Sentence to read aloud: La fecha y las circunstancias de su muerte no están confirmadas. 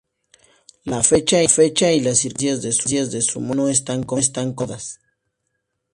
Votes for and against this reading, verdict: 0, 2, rejected